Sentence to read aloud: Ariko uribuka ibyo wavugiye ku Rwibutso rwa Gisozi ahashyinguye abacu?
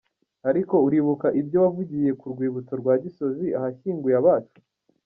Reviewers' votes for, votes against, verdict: 2, 1, accepted